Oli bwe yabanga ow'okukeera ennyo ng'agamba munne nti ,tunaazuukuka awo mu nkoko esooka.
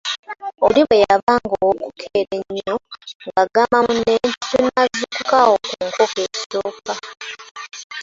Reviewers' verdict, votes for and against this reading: rejected, 1, 2